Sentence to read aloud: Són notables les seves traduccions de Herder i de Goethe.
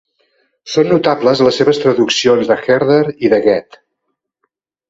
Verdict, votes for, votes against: accepted, 2, 0